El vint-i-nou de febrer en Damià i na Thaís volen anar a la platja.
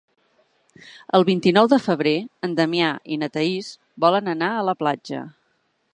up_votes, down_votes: 3, 0